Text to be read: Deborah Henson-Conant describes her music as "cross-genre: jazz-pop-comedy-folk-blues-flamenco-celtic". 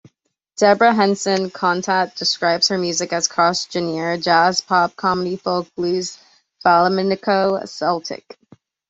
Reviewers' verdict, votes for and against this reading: rejected, 1, 2